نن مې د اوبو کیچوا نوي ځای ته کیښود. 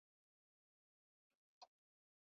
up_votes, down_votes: 1, 2